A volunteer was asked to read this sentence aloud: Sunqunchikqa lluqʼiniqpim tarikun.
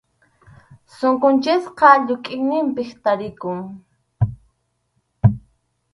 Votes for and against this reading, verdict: 2, 2, rejected